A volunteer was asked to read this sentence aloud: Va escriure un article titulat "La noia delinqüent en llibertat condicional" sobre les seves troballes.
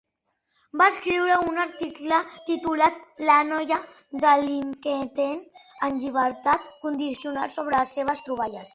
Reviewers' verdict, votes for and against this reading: rejected, 1, 2